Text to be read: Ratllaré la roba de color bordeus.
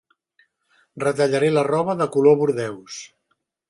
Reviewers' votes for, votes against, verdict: 0, 3, rejected